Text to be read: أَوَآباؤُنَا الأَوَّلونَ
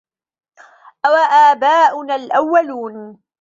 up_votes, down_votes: 2, 0